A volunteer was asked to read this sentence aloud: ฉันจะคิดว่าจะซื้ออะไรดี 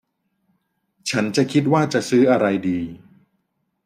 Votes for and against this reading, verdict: 2, 0, accepted